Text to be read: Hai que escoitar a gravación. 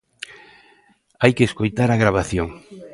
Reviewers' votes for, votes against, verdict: 2, 0, accepted